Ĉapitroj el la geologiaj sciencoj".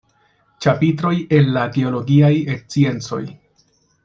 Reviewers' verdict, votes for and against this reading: rejected, 1, 2